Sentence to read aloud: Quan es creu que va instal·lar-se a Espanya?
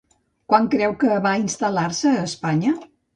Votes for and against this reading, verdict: 0, 3, rejected